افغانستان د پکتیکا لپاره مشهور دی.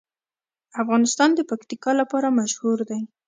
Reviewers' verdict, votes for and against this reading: accepted, 2, 0